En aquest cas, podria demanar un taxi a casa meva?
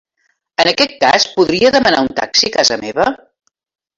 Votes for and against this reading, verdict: 0, 2, rejected